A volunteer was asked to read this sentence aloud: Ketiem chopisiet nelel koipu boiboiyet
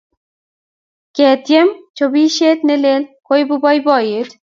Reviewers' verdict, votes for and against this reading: accepted, 2, 0